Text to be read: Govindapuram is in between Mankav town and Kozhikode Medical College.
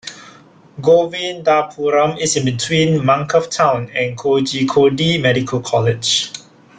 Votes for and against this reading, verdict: 2, 0, accepted